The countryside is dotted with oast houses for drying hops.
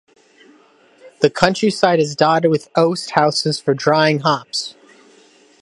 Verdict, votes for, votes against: accepted, 2, 0